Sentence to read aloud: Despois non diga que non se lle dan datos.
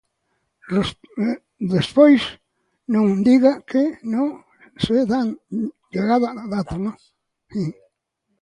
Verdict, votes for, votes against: rejected, 0, 2